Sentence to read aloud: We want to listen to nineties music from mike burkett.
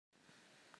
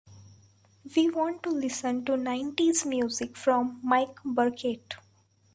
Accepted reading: second